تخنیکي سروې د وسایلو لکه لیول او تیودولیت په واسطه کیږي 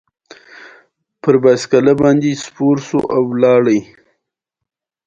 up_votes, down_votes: 0, 2